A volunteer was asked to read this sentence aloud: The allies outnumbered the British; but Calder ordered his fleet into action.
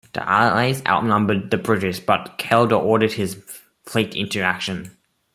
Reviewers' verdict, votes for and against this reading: accepted, 2, 1